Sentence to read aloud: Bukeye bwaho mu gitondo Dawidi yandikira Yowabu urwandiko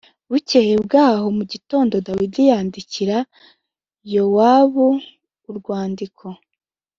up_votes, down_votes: 2, 0